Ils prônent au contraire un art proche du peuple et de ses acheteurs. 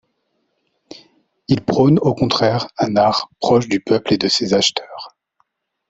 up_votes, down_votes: 2, 0